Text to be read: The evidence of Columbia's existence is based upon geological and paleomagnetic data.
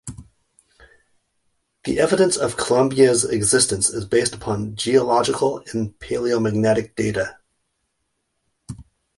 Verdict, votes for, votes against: rejected, 1, 2